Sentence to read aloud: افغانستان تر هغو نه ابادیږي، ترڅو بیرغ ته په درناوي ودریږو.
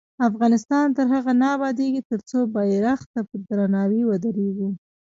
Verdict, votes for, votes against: accepted, 2, 0